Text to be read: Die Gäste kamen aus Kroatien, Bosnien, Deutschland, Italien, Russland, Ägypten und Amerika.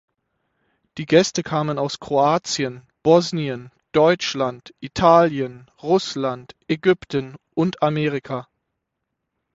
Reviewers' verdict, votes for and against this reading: accepted, 6, 0